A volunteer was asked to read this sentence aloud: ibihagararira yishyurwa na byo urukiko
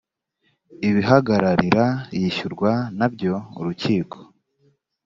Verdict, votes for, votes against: accepted, 2, 0